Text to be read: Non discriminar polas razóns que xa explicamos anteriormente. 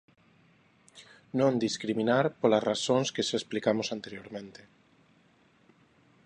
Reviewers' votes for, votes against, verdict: 2, 0, accepted